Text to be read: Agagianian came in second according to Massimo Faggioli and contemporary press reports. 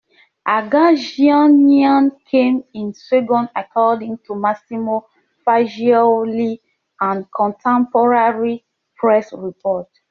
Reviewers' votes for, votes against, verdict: 2, 1, accepted